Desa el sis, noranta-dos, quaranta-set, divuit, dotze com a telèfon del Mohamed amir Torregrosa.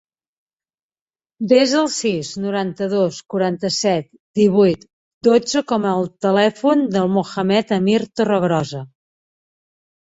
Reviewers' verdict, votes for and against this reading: rejected, 0, 2